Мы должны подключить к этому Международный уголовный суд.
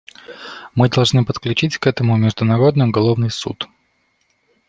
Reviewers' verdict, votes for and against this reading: accepted, 2, 0